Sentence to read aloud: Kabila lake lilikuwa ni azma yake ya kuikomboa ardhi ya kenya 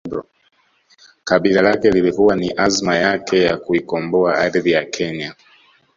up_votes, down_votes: 1, 2